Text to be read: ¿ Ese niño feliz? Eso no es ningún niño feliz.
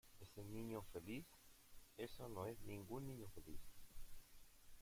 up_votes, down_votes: 1, 2